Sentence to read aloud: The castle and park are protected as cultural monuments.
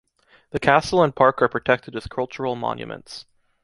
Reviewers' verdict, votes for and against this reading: accepted, 2, 0